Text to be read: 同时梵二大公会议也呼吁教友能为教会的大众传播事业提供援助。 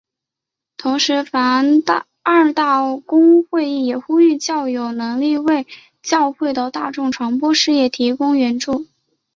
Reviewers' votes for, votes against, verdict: 4, 0, accepted